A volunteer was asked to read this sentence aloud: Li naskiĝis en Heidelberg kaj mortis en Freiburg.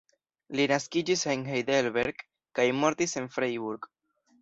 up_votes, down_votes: 2, 0